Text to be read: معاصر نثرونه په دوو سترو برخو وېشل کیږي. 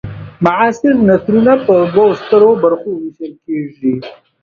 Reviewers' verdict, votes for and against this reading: accepted, 2, 0